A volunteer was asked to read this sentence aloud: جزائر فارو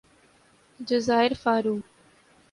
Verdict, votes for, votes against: accepted, 3, 0